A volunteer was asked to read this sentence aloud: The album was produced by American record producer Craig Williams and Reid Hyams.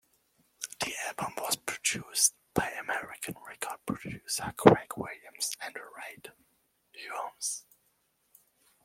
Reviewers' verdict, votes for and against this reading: accepted, 2, 0